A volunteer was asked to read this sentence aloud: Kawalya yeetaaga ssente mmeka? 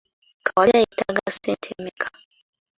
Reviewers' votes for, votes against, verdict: 2, 1, accepted